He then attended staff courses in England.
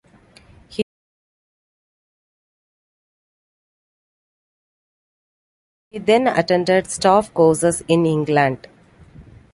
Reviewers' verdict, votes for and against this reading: rejected, 0, 2